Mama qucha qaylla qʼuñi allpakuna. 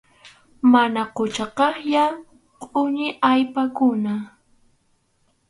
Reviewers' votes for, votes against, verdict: 2, 2, rejected